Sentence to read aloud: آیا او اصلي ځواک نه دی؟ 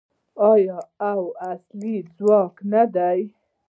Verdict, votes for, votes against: rejected, 0, 2